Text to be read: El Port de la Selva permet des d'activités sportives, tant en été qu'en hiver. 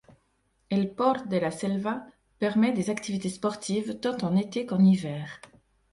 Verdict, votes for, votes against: rejected, 0, 2